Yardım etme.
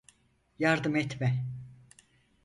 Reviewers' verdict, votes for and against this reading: accepted, 4, 0